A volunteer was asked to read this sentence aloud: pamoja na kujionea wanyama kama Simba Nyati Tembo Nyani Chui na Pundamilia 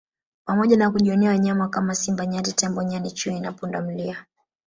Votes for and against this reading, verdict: 2, 1, accepted